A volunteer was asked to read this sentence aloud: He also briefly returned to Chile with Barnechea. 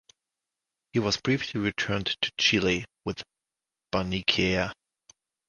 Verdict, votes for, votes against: rejected, 0, 2